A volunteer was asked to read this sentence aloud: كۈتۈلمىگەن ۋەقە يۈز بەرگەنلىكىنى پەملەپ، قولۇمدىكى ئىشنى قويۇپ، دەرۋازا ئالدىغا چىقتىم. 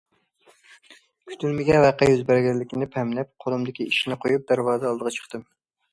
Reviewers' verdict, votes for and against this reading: accepted, 2, 0